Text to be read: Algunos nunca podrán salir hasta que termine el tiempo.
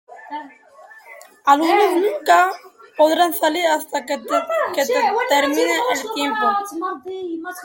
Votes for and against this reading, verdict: 1, 2, rejected